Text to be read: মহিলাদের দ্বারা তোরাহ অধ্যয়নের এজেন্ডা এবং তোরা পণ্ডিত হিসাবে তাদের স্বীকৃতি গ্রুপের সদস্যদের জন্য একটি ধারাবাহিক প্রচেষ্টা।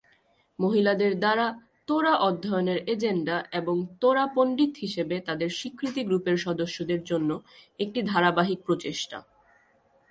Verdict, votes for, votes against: accepted, 2, 0